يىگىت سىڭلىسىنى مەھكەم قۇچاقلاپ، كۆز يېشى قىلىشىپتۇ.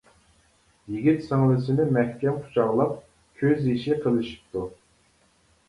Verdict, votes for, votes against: accepted, 2, 0